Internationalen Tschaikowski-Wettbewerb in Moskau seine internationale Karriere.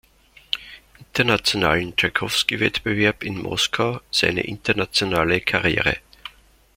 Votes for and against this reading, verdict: 2, 0, accepted